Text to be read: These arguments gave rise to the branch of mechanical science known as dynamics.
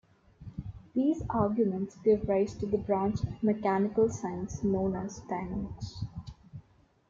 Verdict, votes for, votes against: accepted, 2, 1